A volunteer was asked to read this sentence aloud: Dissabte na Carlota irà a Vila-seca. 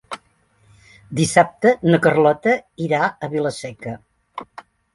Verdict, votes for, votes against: accepted, 3, 0